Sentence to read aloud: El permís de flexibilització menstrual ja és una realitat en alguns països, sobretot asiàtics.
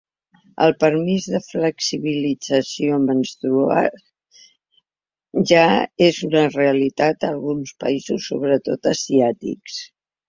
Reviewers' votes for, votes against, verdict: 1, 2, rejected